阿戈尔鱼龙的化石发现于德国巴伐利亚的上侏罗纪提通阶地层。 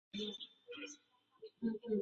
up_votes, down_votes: 0, 3